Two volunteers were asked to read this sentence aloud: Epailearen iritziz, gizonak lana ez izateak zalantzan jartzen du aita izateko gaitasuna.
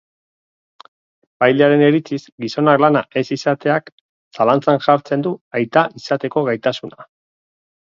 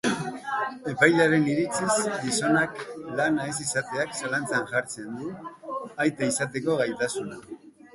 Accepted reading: second